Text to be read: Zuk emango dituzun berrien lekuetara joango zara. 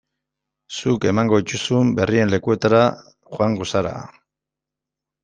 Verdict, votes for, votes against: accepted, 2, 0